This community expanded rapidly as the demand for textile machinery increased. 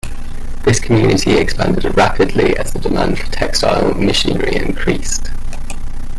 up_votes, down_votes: 0, 2